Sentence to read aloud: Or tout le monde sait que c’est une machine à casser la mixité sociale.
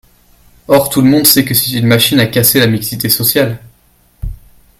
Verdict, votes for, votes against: accepted, 2, 1